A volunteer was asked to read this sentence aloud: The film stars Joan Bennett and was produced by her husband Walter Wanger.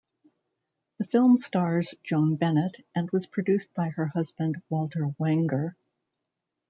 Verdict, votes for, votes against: accepted, 2, 0